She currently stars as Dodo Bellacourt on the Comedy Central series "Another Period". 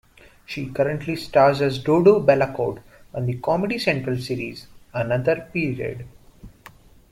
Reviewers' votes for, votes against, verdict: 2, 0, accepted